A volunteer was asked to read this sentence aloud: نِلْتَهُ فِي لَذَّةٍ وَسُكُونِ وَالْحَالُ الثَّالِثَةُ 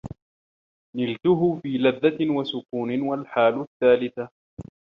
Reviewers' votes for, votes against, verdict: 2, 0, accepted